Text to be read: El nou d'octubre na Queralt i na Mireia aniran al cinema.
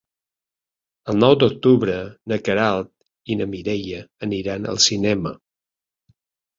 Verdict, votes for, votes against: accepted, 4, 0